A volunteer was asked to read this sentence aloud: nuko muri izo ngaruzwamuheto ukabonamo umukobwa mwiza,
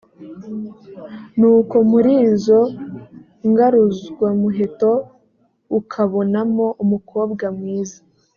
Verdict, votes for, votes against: accepted, 2, 0